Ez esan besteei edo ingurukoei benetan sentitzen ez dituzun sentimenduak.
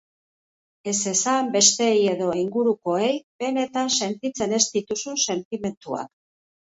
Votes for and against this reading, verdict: 2, 0, accepted